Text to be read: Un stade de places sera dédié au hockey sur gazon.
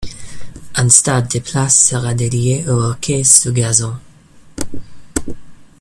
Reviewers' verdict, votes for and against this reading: rejected, 1, 2